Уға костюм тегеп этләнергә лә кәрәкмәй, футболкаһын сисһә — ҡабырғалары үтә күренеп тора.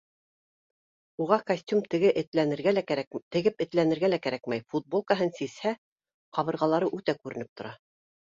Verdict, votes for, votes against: rejected, 0, 3